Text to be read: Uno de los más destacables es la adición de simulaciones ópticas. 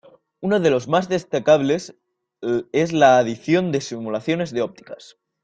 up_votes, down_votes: 1, 2